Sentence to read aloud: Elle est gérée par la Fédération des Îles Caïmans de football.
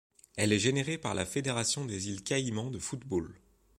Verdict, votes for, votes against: rejected, 1, 2